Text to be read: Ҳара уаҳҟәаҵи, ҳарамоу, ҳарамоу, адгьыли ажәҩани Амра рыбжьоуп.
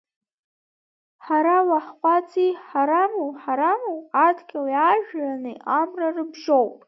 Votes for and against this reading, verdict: 0, 2, rejected